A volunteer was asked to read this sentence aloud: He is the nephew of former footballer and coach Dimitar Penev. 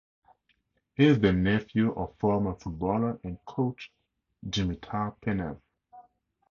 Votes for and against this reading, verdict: 2, 2, rejected